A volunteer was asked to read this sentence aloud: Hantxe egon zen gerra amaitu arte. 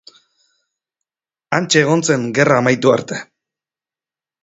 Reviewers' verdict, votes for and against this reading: accepted, 2, 0